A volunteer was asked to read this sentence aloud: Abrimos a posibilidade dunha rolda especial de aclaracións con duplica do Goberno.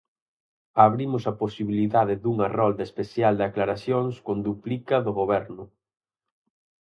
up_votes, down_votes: 4, 0